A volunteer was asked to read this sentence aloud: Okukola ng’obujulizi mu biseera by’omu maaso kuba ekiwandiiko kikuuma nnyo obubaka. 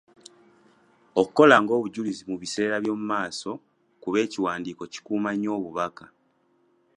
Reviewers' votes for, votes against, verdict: 2, 0, accepted